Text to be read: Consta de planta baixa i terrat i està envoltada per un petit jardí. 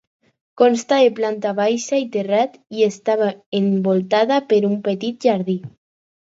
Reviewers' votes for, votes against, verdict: 2, 4, rejected